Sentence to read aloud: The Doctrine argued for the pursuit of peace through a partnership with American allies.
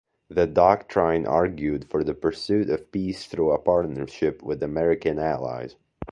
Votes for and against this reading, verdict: 2, 0, accepted